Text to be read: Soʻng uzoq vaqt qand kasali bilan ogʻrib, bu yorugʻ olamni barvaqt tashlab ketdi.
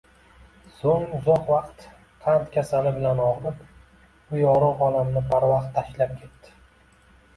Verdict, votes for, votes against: accepted, 2, 1